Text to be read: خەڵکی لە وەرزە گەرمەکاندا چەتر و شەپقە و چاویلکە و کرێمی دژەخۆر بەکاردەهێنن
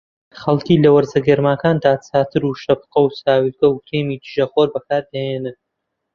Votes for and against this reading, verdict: 0, 2, rejected